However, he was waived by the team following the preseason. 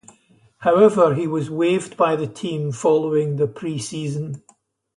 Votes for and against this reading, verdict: 0, 2, rejected